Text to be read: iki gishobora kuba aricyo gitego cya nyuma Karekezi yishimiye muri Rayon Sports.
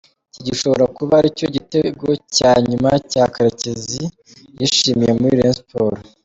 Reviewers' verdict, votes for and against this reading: accepted, 2, 1